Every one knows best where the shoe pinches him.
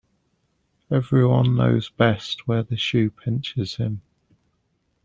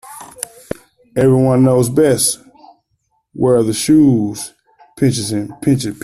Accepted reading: first